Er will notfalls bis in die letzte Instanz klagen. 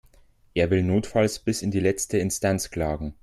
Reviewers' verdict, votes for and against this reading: accepted, 3, 1